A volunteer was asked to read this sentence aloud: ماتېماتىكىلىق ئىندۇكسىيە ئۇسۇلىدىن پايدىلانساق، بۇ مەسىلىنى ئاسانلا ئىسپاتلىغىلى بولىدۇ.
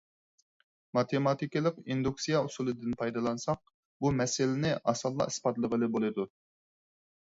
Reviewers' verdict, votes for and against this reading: accepted, 4, 0